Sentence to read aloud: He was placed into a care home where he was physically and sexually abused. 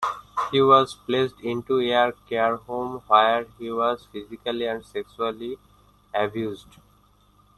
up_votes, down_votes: 1, 2